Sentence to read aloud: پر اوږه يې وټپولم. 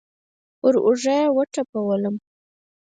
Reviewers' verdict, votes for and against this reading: rejected, 0, 4